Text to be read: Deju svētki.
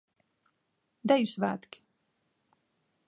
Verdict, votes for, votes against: accepted, 2, 0